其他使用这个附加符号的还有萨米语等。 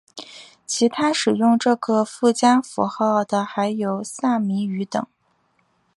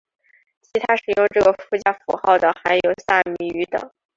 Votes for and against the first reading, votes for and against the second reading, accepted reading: 3, 0, 0, 3, first